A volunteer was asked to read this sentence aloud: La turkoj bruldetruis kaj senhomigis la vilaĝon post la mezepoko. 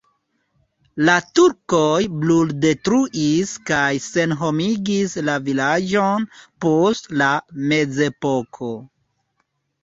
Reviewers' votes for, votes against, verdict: 1, 2, rejected